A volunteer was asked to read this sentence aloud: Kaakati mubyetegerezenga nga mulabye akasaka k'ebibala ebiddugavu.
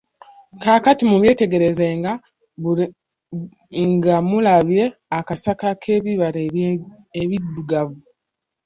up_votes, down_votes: 0, 2